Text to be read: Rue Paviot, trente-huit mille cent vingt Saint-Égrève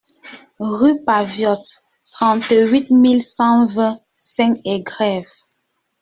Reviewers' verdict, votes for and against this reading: rejected, 1, 2